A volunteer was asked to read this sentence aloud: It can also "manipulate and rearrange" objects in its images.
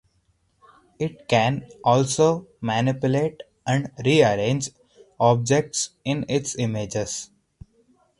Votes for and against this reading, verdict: 4, 0, accepted